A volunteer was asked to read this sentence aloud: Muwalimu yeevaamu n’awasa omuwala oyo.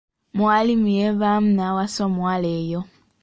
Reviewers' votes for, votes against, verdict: 1, 2, rejected